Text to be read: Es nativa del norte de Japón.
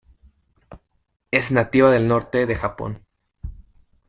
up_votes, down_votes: 2, 0